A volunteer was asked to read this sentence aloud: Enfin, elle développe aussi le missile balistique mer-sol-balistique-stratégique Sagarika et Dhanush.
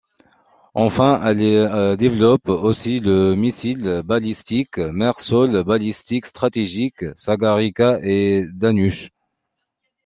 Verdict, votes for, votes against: rejected, 0, 2